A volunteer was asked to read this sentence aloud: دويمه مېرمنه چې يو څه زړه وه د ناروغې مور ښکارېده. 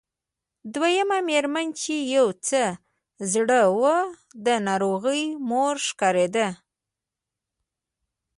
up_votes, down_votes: 0, 2